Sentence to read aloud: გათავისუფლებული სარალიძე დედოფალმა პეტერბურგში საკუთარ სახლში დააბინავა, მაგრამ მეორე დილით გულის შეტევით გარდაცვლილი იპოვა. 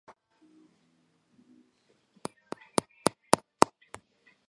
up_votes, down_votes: 0, 2